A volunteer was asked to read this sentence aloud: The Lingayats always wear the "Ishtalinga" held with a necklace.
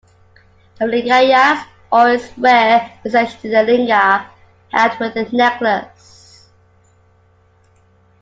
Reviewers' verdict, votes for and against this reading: rejected, 1, 2